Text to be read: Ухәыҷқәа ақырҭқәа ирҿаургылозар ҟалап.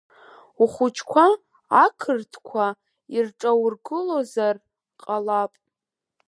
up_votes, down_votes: 2, 1